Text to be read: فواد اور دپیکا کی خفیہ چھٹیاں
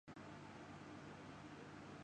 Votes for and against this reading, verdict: 0, 2, rejected